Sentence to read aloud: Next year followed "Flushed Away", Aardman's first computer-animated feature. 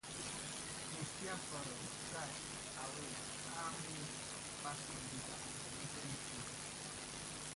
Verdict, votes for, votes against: rejected, 0, 2